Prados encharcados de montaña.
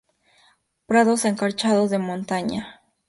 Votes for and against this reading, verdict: 0, 2, rejected